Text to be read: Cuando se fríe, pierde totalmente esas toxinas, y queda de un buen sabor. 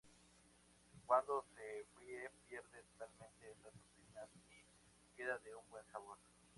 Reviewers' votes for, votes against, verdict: 0, 2, rejected